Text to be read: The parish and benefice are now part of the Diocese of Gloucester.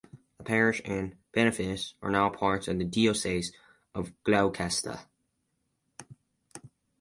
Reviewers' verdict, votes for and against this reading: rejected, 0, 4